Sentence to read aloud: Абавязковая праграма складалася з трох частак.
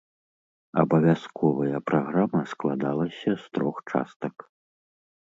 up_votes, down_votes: 2, 0